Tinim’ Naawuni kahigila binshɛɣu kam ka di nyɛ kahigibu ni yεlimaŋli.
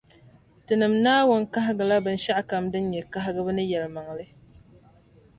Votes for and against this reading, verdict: 2, 0, accepted